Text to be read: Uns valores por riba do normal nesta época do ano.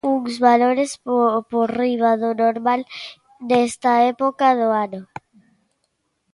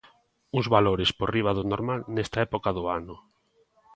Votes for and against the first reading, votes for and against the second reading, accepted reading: 0, 2, 2, 0, second